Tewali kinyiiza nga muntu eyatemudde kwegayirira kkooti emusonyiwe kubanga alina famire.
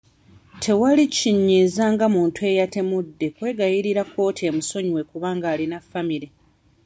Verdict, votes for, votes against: accepted, 2, 0